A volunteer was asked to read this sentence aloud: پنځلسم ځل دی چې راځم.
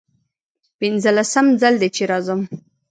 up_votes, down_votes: 0, 2